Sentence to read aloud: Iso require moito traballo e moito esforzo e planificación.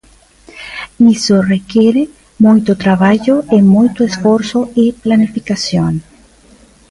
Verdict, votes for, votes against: rejected, 1, 2